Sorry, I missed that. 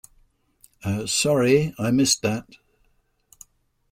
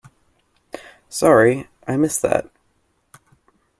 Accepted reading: second